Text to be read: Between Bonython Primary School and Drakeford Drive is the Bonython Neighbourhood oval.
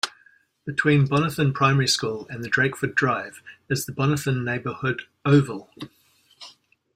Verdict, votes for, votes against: accepted, 2, 0